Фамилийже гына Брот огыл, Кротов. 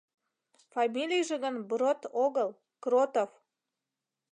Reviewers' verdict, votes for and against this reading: rejected, 0, 2